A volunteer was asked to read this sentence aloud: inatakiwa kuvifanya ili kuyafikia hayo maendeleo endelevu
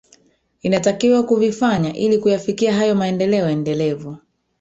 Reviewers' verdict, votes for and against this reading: rejected, 1, 2